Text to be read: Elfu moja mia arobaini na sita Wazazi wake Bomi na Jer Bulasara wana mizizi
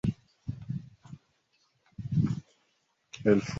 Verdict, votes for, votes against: rejected, 0, 3